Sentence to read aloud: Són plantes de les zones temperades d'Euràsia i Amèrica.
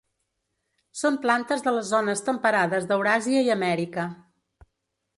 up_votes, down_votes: 2, 0